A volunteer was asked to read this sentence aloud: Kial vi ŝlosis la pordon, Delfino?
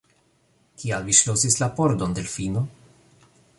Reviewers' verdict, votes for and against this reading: rejected, 0, 2